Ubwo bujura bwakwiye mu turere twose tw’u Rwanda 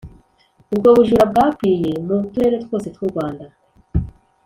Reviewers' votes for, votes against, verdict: 2, 0, accepted